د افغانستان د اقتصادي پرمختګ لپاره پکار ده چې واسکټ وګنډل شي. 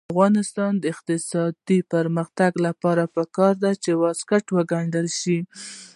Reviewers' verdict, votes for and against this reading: rejected, 1, 2